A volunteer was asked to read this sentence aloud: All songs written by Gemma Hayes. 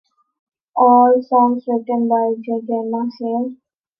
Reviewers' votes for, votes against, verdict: 0, 2, rejected